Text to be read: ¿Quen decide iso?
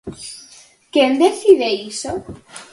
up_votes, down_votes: 4, 0